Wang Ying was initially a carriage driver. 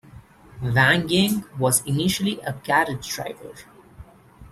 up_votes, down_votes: 2, 1